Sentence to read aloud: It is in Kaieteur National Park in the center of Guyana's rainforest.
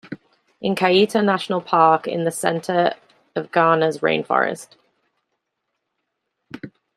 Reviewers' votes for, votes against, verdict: 0, 2, rejected